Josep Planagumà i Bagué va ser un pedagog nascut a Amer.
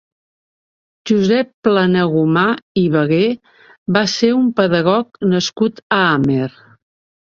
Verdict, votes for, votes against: rejected, 1, 2